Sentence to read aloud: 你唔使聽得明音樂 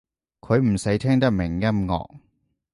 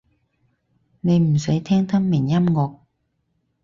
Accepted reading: second